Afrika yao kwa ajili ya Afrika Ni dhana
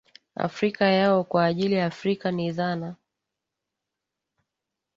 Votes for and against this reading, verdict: 1, 3, rejected